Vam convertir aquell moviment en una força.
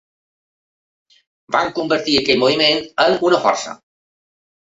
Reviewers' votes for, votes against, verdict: 2, 0, accepted